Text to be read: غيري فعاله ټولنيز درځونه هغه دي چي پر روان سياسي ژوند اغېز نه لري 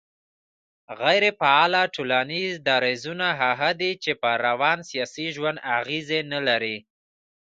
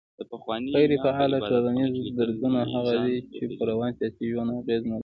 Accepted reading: second